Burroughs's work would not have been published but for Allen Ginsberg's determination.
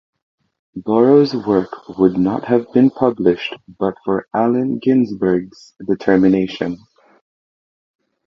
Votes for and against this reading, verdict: 2, 2, rejected